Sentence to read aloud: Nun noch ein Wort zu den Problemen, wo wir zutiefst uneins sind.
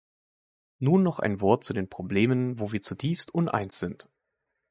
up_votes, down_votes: 2, 0